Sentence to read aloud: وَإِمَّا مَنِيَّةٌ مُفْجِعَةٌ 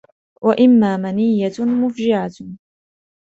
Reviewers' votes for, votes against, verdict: 2, 0, accepted